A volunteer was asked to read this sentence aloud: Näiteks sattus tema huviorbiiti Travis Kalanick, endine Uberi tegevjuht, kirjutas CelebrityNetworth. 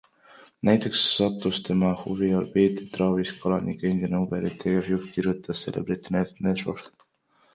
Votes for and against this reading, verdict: 1, 2, rejected